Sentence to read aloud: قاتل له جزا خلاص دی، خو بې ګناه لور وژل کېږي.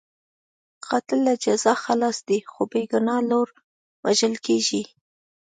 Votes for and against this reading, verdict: 3, 0, accepted